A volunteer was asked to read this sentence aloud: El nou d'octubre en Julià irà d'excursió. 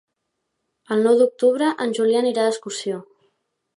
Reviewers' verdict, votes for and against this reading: rejected, 1, 2